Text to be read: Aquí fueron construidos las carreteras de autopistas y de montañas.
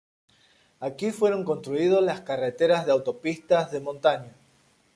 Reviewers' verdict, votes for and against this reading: rejected, 0, 2